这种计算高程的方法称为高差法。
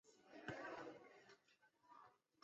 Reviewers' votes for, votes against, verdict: 0, 2, rejected